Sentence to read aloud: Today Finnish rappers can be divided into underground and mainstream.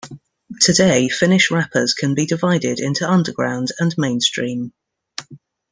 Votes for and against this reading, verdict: 2, 1, accepted